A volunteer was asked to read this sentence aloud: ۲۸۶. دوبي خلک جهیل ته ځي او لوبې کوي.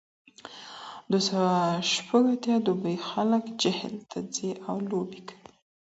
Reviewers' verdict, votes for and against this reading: rejected, 0, 2